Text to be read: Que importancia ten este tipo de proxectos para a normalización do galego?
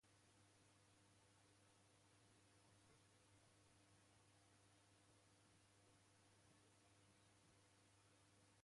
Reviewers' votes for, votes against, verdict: 0, 2, rejected